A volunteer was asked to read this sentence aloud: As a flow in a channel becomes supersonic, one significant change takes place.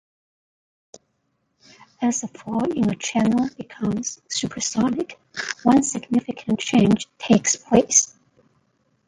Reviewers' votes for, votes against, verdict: 1, 2, rejected